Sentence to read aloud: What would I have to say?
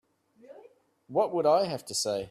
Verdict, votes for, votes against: accepted, 3, 0